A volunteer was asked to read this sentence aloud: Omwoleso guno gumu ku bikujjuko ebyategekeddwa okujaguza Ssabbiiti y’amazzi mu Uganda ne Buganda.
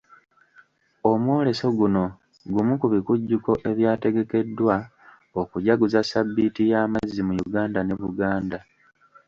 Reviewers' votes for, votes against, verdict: 1, 2, rejected